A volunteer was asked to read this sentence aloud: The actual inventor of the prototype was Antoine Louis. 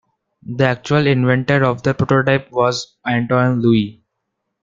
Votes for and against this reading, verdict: 0, 2, rejected